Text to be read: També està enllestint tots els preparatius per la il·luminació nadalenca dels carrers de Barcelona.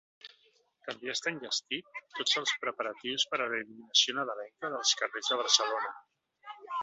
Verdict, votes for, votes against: rejected, 1, 2